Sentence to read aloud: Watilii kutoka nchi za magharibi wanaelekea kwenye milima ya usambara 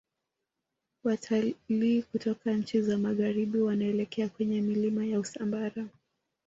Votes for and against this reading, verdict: 0, 2, rejected